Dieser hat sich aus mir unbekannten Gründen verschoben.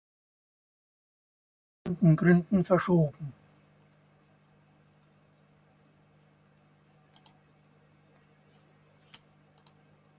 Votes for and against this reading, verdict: 0, 2, rejected